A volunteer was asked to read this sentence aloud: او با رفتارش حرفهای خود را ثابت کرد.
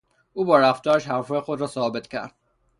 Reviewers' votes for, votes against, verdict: 0, 3, rejected